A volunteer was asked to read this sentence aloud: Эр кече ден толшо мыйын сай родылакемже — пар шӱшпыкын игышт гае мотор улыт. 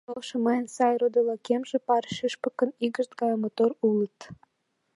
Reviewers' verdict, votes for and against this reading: rejected, 1, 2